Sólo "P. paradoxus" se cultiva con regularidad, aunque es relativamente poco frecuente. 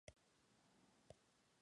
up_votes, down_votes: 0, 2